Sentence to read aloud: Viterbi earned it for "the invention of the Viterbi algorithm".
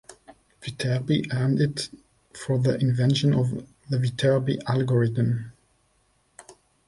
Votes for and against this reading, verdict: 0, 2, rejected